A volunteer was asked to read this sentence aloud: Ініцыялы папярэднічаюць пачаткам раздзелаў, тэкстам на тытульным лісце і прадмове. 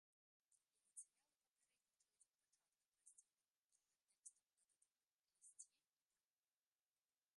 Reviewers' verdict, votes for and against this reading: rejected, 1, 2